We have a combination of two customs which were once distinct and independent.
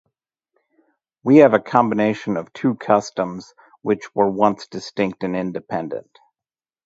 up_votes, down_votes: 2, 0